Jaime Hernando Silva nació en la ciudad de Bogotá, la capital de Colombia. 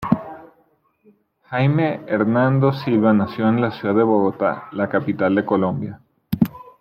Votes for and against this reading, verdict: 2, 0, accepted